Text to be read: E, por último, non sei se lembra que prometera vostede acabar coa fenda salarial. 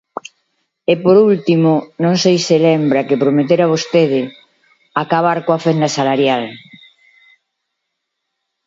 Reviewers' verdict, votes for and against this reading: accepted, 2, 0